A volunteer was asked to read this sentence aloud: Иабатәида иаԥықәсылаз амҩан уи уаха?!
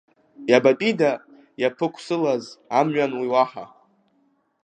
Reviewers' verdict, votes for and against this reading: accepted, 2, 1